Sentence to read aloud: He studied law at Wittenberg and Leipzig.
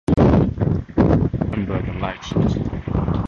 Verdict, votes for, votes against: rejected, 0, 2